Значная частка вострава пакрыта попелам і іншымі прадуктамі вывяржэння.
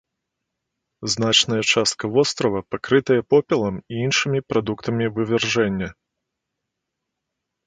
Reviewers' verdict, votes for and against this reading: rejected, 0, 2